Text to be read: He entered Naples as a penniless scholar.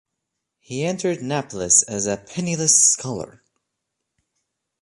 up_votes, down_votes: 1, 2